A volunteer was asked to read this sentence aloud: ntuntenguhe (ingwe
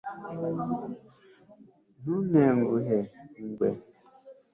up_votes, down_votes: 2, 0